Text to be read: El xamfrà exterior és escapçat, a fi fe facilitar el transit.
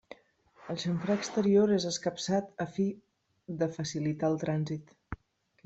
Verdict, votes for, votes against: rejected, 1, 2